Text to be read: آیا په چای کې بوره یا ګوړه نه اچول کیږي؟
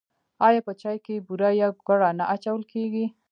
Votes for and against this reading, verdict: 0, 2, rejected